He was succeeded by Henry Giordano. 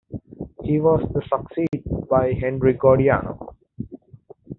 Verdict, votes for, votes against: rejected, 0, 2